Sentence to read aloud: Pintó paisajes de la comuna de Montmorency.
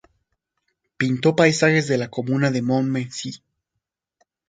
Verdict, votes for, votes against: rejected, 0, 2